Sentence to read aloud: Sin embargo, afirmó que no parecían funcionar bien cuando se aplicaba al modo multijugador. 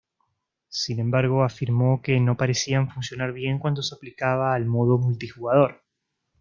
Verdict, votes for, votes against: accepted, 2, 0